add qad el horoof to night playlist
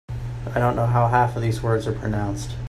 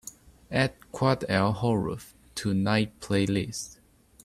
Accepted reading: second